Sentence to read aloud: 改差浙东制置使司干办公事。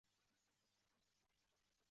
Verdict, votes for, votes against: rejected, 0, 2